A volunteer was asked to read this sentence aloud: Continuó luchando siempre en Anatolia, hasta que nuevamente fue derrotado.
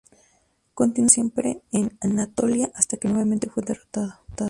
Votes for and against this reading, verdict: 0, 4, rejected